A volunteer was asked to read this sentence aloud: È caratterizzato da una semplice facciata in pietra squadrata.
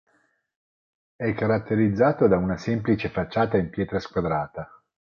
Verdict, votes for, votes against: accepted, 4, 0